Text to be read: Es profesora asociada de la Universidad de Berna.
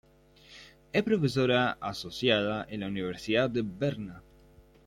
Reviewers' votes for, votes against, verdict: 1, 2, rejected